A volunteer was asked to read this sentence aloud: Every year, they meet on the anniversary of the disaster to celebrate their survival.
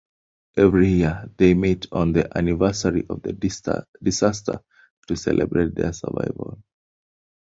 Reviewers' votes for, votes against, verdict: 1, 2, rejected